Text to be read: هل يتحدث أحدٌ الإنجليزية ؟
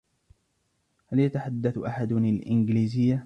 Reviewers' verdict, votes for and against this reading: rejected, 1, 2